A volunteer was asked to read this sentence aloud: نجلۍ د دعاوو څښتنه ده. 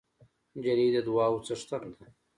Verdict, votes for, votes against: accepted, 2, 0